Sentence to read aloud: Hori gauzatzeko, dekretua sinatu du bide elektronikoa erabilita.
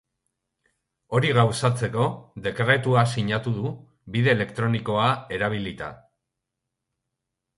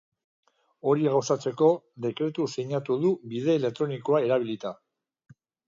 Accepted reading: first